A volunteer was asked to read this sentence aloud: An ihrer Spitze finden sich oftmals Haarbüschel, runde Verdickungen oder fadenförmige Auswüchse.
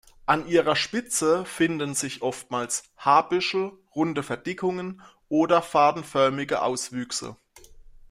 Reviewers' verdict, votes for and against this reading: accepted, 2, 0